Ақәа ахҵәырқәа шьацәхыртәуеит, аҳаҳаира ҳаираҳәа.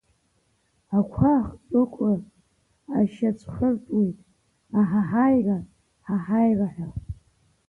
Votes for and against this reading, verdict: 0, 2, rejected